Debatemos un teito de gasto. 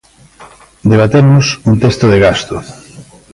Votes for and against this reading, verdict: 0, 2, rejected